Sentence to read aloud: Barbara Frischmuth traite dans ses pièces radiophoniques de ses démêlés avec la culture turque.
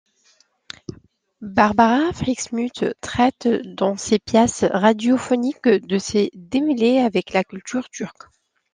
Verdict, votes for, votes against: accepted, 2, 1